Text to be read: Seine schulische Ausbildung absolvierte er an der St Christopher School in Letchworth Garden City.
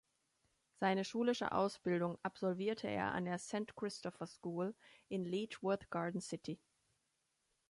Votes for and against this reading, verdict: 2, 0, accepted